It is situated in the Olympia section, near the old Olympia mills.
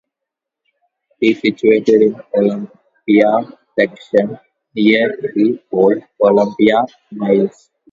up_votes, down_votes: 0, 2